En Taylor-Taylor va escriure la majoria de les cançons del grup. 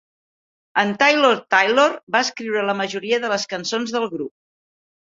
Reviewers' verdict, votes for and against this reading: accepted, 3, 0